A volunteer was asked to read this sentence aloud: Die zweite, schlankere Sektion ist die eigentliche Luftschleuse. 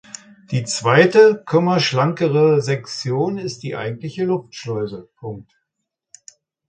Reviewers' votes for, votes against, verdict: 0, 3, rejected